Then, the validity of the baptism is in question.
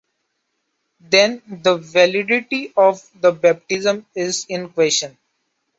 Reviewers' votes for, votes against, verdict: 2, 1, accepted